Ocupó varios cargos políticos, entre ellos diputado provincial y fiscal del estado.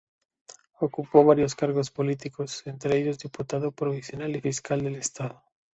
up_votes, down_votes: 2, 0